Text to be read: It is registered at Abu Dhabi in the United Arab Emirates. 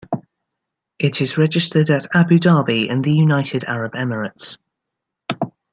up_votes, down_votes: 1, 2